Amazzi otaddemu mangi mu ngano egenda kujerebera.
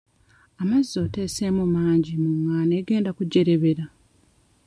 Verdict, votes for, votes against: rejected, 1, 2